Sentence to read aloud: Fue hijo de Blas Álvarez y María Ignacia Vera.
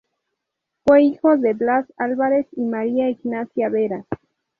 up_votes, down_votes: 2, 0